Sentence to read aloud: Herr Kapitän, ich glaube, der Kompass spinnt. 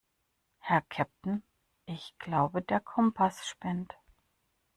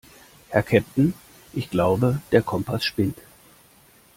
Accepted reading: first